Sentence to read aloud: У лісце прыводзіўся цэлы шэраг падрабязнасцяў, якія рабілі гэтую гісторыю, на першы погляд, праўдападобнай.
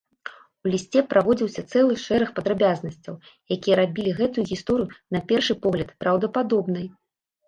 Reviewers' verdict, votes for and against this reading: rejected, 0, 2